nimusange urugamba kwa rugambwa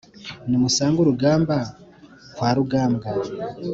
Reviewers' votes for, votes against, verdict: 2, 0, accepted